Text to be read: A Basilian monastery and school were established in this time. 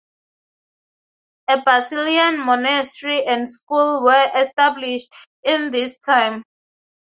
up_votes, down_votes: 2, 0